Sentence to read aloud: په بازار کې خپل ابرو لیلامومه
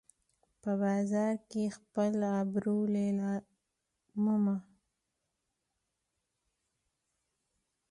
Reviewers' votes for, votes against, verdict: 2, 0, accepted